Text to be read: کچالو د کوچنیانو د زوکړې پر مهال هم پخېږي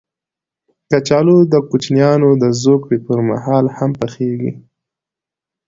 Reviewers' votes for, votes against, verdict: 3, 0, accepted